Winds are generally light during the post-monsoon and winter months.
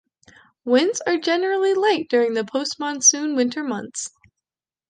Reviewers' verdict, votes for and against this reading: rejected, 0, 2